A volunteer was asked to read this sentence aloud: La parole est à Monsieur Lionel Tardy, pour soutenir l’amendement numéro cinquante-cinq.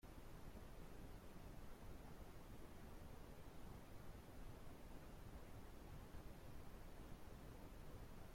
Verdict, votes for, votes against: rejected, 0, 2